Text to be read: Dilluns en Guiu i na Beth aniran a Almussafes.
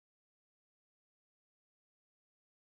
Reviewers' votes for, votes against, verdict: 0, 2, rejected